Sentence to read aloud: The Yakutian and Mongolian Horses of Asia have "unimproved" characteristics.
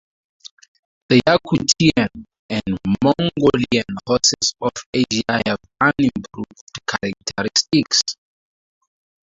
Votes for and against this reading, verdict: 0, 2, rejected